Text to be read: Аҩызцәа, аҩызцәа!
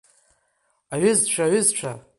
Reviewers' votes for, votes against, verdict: 2, 0, accepted